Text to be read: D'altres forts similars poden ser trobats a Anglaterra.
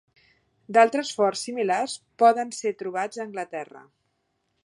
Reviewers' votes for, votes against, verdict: 6, 0, accepted